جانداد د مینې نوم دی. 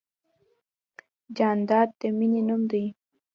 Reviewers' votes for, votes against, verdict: 2, 0, accepted